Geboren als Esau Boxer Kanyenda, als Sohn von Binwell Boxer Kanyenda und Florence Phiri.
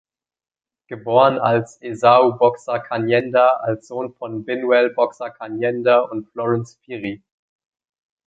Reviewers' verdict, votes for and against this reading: accepted, 2, 1